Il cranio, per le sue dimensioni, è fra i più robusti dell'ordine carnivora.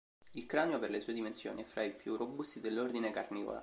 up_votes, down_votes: 2, 0